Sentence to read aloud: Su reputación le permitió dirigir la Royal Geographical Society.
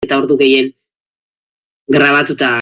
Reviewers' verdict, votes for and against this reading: rejected, 0, 2